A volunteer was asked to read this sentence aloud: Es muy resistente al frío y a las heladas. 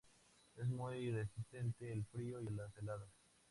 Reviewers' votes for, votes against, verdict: 0, 2, rejected